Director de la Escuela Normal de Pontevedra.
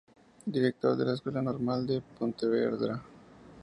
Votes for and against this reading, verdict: 2, 0, accepted